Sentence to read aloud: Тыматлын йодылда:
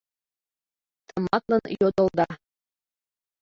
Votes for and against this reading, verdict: 0, 2, rejected